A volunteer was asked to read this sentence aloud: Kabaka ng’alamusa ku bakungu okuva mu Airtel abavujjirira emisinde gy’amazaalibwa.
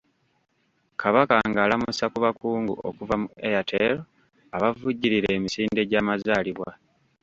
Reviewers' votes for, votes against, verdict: 0, 2, rejected